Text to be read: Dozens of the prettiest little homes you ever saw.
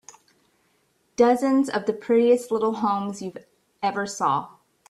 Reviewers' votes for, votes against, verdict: 0, 2, rejected